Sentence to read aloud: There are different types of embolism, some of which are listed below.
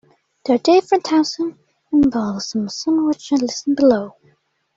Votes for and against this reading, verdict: 2, 0, accepted